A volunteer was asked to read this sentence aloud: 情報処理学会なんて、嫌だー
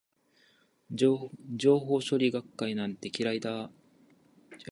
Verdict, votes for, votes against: rejected, 1, 2